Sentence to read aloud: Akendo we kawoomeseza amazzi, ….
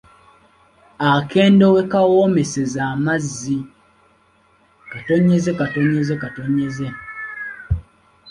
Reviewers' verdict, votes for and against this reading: accepted, 2, 0